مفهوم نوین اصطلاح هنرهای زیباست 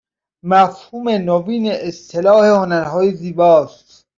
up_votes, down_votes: 2, 1